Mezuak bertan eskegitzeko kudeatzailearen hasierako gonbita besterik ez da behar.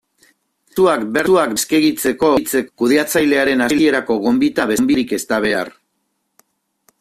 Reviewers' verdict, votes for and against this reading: rejected, 0, 2